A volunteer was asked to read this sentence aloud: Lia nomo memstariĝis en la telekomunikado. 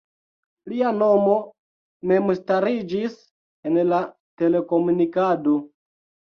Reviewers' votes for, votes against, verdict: 2, 1, accepted